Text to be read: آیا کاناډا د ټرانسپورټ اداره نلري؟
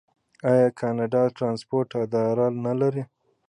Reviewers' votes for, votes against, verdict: 2, 0, accepted